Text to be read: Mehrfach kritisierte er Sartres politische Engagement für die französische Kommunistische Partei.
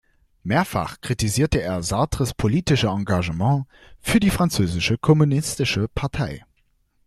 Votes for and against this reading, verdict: 2, 0, accepted